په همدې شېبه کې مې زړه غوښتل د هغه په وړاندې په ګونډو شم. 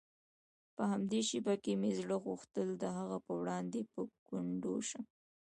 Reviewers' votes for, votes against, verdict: 2, 0, accepted